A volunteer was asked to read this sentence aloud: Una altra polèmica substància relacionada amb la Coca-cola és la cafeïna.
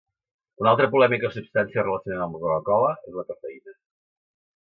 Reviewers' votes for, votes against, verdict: 0, 2, rejected